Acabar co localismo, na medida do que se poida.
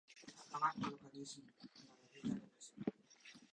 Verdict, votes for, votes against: rejected, 0, 2